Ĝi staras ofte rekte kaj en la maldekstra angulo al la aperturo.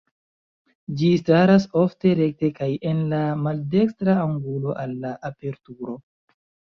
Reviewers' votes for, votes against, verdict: 2, 0, accepted